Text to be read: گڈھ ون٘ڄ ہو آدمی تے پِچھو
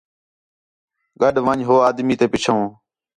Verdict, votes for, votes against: accepted, 4, 0